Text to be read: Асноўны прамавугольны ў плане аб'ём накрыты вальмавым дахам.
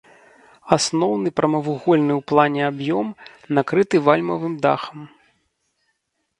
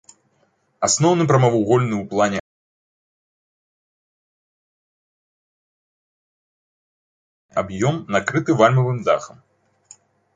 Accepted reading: first